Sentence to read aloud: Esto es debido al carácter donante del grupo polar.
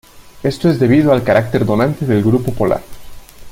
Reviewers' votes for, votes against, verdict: 2, 0, accepted